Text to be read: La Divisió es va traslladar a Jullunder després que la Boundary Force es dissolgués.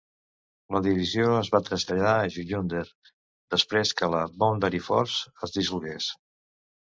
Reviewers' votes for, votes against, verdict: 3, 0, accepted